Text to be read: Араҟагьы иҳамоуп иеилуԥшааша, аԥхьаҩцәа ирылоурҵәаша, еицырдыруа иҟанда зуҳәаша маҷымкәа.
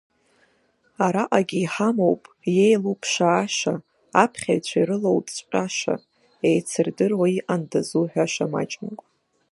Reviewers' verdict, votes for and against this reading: accepted, 2, 1